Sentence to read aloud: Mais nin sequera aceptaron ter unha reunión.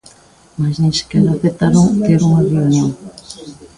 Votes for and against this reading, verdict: 2, 1, accepted